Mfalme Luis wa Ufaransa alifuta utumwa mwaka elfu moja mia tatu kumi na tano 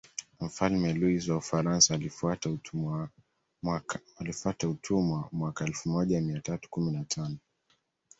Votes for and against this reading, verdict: 1, 2, rejected